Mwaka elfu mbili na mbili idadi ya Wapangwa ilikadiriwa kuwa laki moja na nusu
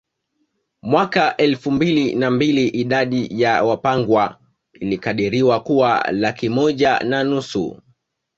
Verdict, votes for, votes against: accepted, 2, 0